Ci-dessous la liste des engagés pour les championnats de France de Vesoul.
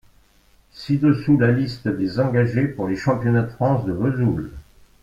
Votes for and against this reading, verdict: 2, 0, accepted